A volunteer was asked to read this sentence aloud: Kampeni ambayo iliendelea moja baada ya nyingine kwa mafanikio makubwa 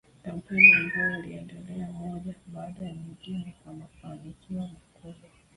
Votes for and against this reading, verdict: 0, 2, rejected